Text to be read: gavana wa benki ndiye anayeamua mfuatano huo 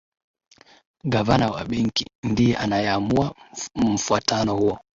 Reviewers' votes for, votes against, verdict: 2, 1, accepted